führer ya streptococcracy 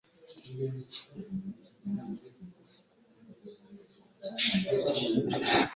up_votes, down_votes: 1, 2